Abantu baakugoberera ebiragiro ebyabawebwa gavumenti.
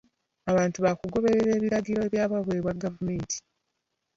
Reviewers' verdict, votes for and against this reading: accepted, 2, 0